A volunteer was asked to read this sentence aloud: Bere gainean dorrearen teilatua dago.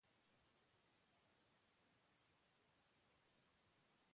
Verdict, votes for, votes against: rejected, 0, 3